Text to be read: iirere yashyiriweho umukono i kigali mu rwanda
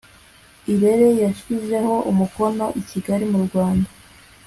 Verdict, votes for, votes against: accepted, 2, 0